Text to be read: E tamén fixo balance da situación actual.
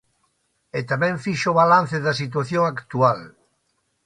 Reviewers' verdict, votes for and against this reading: accepted, 2, 0